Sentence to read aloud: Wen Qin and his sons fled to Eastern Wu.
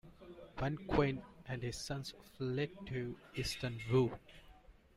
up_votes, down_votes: 2, 0